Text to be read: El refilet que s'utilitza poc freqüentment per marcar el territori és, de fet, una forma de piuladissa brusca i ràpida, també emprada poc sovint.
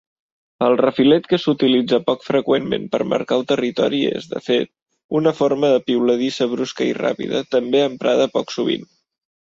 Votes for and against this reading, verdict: 2, 0, accepted